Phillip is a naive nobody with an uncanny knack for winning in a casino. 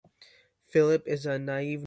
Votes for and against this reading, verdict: 1, 2, rejected